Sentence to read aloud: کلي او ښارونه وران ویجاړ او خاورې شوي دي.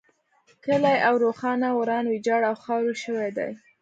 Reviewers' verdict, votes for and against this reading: rejected, 0, 2